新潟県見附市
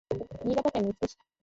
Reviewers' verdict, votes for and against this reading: rejected, 2, 5